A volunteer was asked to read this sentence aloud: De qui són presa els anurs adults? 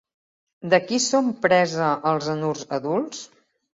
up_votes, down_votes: 3, 0